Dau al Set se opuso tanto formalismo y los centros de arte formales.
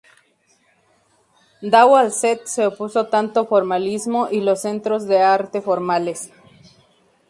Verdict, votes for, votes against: rejected, 2, 2